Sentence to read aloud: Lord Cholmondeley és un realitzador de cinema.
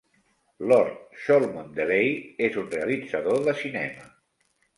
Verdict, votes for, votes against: accepted, 4, 0